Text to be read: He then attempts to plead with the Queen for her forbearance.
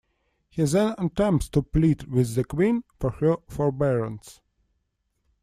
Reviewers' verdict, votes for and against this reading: rejected, 1, 2